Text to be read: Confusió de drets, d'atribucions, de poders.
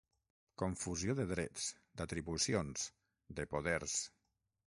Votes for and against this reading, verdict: 6, 0, accepted